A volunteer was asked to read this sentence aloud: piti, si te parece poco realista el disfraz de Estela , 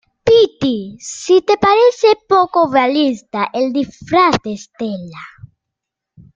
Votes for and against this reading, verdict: 1, 2, rejected